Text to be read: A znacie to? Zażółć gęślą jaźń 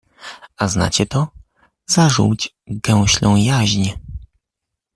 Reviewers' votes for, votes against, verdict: 2, 0, accepted